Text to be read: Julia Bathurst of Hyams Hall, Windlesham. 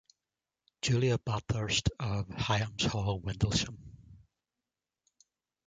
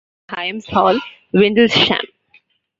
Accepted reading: first